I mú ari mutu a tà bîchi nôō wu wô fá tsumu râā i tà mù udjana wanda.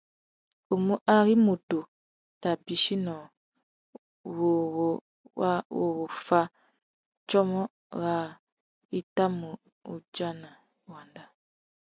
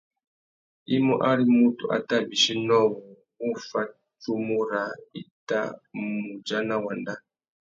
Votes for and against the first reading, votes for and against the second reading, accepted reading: 0, 2, 2, 0, second